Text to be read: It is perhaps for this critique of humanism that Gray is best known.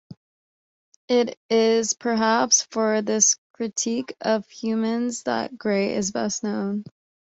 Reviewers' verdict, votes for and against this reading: rejected, 1, 2